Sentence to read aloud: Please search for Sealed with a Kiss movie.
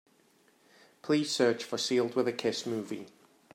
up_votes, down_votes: 2, 0